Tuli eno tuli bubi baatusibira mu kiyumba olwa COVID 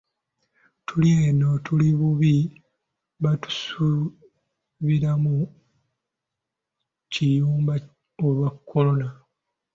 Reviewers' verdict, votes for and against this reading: rejected, 0, 2